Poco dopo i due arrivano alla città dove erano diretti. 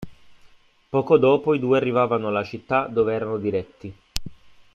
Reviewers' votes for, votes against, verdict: 2, 0, accepted